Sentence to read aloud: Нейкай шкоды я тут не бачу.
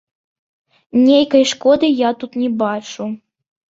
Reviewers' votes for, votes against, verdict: 2, 1, accepted